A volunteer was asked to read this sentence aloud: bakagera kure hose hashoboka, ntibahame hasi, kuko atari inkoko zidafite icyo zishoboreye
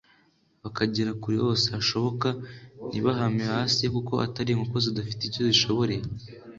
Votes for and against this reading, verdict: 2, 0, accepted